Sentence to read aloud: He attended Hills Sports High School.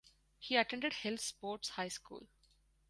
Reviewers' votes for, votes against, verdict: 4, 0, accepted